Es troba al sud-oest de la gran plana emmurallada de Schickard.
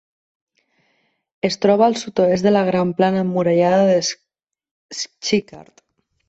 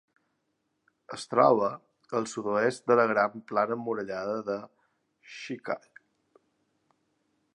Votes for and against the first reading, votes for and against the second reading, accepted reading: 0, 2, 2, 0, second